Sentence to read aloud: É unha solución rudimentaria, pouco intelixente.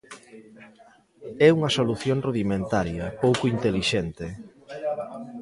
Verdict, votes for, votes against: rejected, 1, 2